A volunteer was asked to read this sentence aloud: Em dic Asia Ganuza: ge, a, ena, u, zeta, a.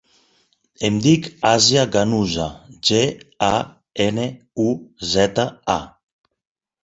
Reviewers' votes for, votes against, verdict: 4, 6, rejected